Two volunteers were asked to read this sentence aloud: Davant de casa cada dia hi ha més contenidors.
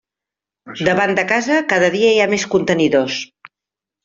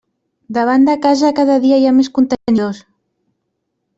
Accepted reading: first